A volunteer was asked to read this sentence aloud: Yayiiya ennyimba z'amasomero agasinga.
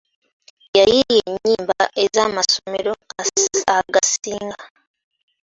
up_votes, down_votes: 0, 2